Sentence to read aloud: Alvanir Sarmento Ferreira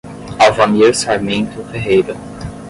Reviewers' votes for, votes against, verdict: 0, 5, rejected